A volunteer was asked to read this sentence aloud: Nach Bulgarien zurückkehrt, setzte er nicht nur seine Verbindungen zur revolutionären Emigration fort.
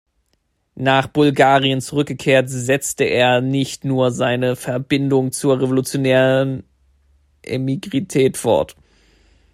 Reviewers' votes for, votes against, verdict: 1, 2, rejected